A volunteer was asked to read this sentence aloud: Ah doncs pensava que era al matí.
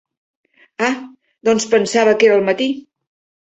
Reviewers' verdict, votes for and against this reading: accepted, 2, 0